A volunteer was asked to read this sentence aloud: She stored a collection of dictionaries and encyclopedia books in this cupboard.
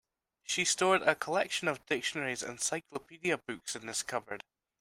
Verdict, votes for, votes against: accepted, 2, 0